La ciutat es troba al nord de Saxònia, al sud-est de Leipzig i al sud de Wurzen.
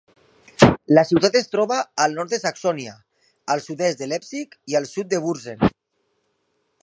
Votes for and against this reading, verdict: 3, 1, accepted